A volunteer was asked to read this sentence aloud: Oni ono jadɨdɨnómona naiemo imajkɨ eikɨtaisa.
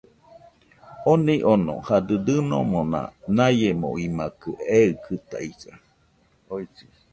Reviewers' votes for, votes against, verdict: 0, 2, rejected